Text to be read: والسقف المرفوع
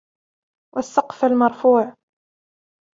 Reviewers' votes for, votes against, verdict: 0, 2, rejected